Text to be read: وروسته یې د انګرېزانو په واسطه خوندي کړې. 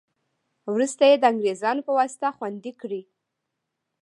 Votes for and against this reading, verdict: 0, 2, rejected